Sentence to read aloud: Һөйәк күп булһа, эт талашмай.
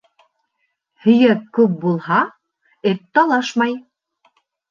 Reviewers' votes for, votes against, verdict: 3, 0, accepted